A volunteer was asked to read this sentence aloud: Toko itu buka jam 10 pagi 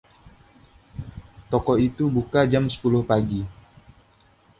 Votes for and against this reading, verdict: 0, 2, rejected